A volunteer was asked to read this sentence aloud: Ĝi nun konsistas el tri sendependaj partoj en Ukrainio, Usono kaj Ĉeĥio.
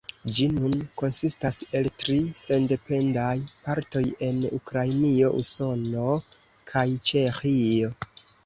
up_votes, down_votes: 2, 1